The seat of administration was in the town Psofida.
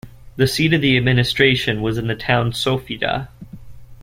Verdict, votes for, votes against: rejected, 1, 2